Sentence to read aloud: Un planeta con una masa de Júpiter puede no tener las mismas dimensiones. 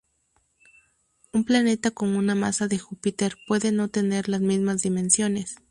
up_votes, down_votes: 2, 0